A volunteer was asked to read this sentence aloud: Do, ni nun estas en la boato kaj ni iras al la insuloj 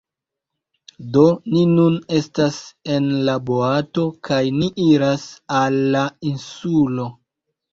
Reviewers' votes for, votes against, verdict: 1, 2, rejected